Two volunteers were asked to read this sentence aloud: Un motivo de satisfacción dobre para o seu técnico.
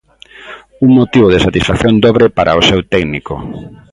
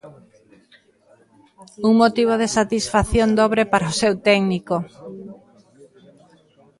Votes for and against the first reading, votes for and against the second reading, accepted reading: 2, 0, 0, 2, first